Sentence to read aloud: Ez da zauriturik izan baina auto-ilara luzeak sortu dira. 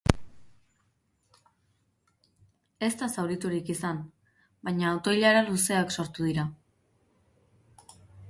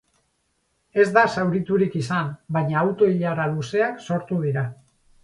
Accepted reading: first